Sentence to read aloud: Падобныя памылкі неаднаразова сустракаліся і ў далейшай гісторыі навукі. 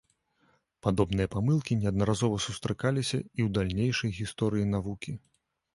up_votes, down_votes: 1, 2